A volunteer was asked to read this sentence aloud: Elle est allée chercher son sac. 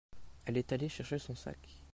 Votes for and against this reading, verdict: 2, 0, accepted